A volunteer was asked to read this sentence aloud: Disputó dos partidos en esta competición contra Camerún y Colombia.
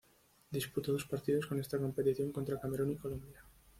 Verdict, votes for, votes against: rejected, 1, 2